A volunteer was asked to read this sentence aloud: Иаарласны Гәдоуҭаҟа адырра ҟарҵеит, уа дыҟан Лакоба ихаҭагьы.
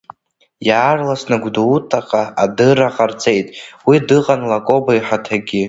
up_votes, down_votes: 1, 2